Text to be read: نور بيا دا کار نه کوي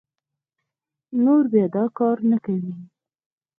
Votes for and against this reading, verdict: 4, 0, accepted